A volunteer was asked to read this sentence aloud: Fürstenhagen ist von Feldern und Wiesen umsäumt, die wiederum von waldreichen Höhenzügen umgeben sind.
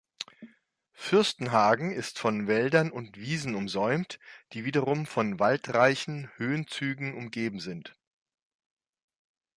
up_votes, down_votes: 0, 2